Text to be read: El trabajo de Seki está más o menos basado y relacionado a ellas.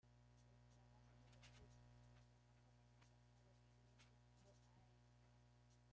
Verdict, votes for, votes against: rejected, 0, 2